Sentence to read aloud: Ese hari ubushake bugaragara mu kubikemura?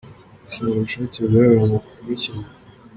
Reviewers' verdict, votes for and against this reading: rejected, 1, 2